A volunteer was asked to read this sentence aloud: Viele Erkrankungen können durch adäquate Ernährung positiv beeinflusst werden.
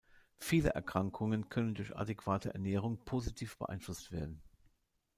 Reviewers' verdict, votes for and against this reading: accepted, 2, 0